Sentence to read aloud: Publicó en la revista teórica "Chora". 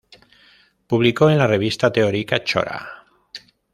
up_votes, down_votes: 1, 2